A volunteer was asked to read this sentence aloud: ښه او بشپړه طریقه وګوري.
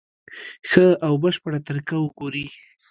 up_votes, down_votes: 2, 0